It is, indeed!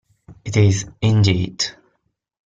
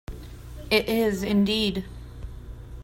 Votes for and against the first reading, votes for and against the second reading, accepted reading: 1, 2, 2, 0, second